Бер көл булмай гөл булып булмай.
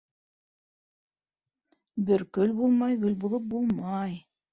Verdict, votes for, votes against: rejected, 1, 2